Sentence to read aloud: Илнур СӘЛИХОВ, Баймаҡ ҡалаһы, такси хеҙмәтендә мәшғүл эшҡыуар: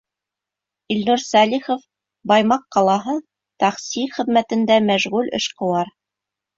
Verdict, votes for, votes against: rejected, 1, 2